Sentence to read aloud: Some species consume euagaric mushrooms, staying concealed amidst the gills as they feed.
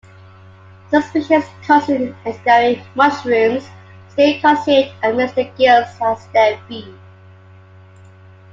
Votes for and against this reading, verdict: 1, 3, rejected